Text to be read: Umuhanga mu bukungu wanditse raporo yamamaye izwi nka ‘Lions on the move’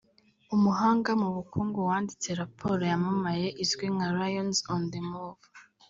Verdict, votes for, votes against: rejected, 1, 2